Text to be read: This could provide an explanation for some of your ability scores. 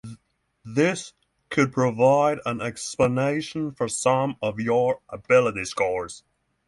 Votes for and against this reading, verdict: 0, 3, rejected